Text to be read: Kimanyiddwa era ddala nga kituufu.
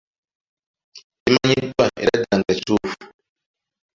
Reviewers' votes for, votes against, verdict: 0, 2, rejected